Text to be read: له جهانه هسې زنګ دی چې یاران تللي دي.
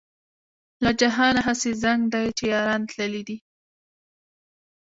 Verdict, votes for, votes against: rejected, 1, 2